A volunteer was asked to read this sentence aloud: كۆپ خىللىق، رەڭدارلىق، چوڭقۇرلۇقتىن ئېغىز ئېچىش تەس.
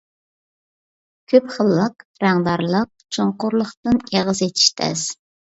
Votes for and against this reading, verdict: 2, 0, accepted